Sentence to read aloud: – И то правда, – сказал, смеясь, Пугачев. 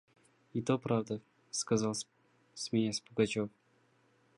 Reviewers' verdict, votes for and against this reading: accepted, 2, 0